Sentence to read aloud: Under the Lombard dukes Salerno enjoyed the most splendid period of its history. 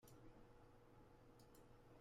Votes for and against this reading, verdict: 0, 2, rejected